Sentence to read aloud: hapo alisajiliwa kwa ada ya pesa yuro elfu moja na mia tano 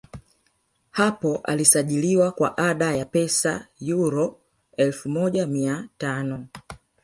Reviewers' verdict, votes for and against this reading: rejected, 1, 2